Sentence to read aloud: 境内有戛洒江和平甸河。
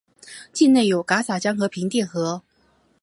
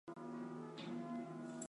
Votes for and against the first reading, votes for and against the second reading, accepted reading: 2, 1, 0, 2, first